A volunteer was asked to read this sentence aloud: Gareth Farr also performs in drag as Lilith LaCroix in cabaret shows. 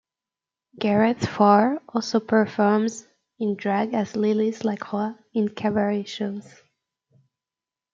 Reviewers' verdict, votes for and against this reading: accepted, 2, 0